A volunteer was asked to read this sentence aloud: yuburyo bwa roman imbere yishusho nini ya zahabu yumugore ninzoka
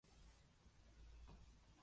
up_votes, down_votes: 0, 2